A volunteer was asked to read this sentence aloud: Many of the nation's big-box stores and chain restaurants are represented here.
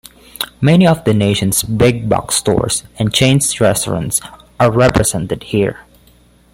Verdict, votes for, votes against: rejected, 0, 2